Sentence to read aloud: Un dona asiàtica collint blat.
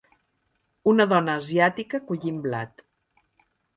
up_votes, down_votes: 2, 0